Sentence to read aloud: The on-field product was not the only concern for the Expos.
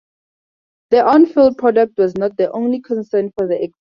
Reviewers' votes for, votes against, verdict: 0, 4, rejected